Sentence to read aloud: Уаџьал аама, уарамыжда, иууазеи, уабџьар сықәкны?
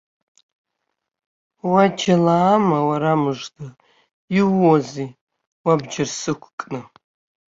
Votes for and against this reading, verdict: 1, 3, rejected